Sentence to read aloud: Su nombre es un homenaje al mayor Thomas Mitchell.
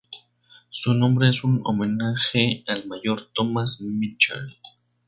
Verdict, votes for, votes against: accepted, 2, 0